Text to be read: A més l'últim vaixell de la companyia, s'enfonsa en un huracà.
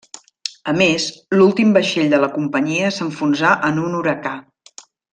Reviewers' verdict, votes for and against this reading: rejected, 1, 2